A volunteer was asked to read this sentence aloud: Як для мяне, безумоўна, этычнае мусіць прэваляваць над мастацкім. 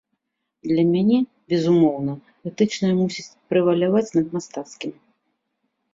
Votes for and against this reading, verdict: 0, 2, rejected